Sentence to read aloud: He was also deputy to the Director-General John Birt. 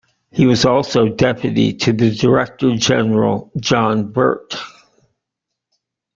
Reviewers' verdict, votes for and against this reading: rejected, 1, 2